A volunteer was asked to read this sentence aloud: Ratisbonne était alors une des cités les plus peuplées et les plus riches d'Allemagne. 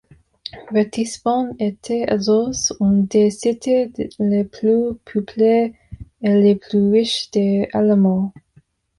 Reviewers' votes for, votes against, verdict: 2, 1, accepted